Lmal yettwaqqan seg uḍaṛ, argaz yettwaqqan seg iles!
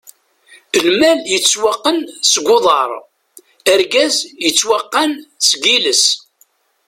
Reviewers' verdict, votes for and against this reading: rejected, 1, 2